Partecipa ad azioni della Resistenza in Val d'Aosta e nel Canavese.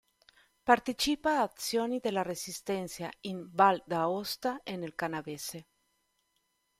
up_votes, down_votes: 0, 2